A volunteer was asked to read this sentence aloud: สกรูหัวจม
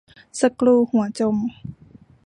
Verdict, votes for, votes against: accepted, 2, 0